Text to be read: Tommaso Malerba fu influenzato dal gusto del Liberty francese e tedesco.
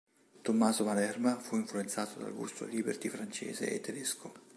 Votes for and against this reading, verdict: 3, 0, accepted